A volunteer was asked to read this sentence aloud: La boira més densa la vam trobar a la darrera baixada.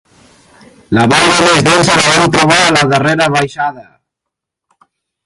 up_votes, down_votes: 1, 3